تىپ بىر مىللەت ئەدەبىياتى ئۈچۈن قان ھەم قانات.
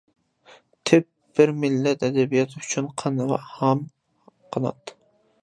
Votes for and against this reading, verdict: 0, 2, rejected